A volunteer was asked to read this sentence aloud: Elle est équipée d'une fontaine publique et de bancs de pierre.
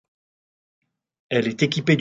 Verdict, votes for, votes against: rejected, 0, 2